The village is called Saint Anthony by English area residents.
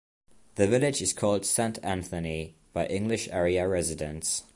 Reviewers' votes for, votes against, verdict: 2, 0, accepted